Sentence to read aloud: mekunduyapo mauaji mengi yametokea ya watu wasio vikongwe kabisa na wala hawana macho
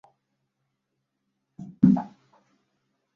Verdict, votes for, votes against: rejected, 0, 2